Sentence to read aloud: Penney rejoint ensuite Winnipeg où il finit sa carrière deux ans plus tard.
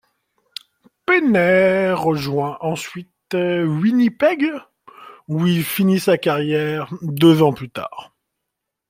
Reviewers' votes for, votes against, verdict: 2, 1, accepted